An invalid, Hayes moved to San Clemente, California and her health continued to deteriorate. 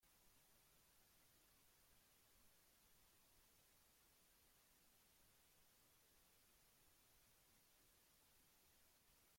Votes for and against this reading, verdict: 0, 2, rejected